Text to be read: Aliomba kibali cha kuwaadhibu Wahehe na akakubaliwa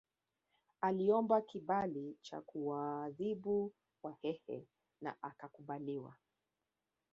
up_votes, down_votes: 1, 2